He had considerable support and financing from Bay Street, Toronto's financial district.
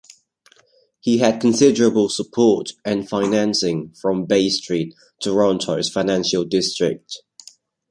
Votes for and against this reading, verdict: 2, 0, accepted